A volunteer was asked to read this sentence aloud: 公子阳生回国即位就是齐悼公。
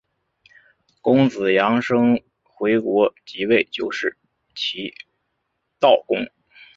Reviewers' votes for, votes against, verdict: 3, 0, accepted